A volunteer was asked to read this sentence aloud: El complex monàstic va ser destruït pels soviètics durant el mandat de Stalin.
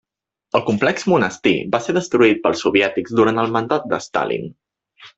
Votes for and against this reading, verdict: 1, 2, rejected